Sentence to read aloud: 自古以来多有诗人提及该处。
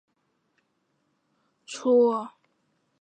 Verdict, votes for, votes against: rejected, 0, 2